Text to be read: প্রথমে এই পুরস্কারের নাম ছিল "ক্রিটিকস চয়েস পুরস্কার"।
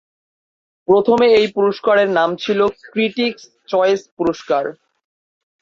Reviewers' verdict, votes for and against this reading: rejected, 2, 2